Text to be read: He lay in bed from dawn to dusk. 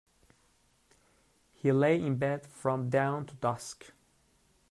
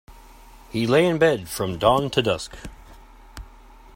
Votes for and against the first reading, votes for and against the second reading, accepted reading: 1, 2, 2, 0, second